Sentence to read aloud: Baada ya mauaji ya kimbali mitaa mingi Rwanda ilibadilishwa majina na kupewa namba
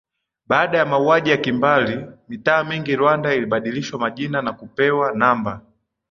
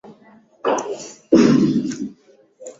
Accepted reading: first